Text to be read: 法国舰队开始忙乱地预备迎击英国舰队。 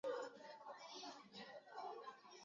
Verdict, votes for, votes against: rejected, 0, 2